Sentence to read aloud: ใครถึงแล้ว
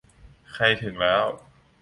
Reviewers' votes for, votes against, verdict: 2, 0, accepted